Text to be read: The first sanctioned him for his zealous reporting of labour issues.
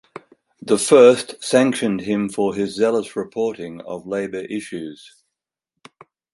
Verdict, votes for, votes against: accepted, 4, 0